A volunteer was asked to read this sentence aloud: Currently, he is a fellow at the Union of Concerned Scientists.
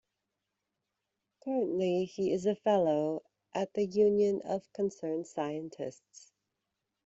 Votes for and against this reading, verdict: 2, 1, accepted